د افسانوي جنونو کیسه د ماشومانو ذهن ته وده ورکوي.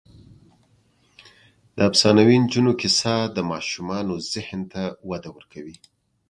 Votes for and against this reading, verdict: 1, 2, rejected